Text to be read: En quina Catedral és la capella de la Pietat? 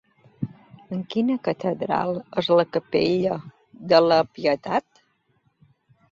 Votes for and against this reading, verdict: 2, 0, accepted